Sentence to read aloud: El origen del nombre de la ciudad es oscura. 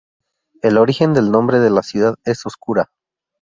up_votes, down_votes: 2, 0